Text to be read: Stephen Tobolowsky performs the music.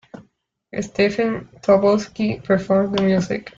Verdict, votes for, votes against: rejected, 0, 2